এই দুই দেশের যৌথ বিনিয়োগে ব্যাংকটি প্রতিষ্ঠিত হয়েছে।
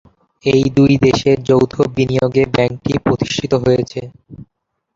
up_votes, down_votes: 0, 2